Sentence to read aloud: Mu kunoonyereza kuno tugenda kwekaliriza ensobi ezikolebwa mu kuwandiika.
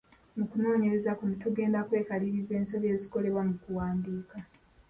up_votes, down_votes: 0, 2